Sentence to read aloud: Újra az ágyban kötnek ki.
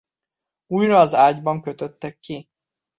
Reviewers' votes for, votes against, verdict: 0, 2, rejected